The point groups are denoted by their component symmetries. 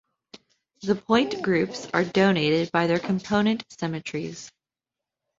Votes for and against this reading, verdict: 1, 2, rejected